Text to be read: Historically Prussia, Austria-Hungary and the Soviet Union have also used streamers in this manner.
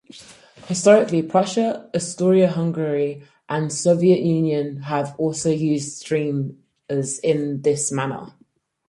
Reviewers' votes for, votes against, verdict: 0, 4, rejected